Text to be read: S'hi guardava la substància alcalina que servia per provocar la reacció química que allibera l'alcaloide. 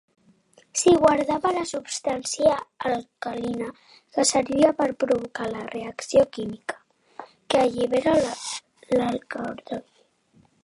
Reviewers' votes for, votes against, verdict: 1, 2, rejected